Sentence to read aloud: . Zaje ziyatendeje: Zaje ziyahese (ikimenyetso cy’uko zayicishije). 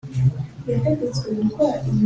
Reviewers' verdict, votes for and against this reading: rejected, 1, 2